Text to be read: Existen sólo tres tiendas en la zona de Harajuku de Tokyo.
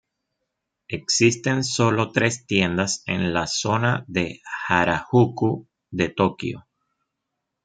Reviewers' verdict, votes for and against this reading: rejected, 1, 2